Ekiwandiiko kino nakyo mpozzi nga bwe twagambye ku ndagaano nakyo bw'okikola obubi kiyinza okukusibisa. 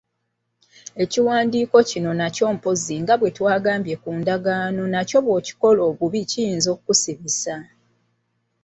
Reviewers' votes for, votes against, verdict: 2, 1, accepted